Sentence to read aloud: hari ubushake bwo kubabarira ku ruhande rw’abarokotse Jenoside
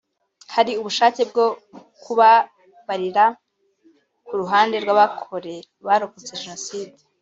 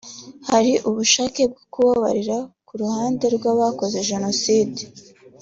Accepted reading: second